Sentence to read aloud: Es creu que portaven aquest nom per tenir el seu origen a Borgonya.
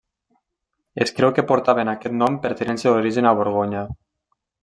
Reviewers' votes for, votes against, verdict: 1, 2, rejected